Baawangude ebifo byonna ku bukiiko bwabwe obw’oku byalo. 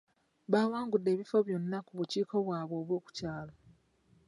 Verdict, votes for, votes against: accepted, 2, 0